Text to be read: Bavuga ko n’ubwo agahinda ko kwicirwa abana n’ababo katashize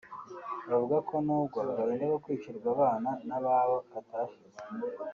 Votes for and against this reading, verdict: 1, 2, rejected